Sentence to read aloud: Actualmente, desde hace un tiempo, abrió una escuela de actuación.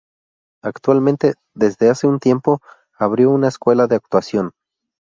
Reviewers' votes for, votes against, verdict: 2, 0, accepted